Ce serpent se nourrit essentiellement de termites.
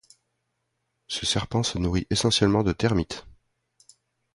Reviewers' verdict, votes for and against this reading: accepted, 2, 0